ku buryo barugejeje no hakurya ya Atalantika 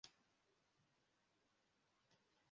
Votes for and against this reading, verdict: 0, 2, rejected